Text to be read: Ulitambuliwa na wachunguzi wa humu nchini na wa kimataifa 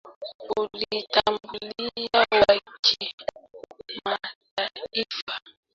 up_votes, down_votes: 0, 2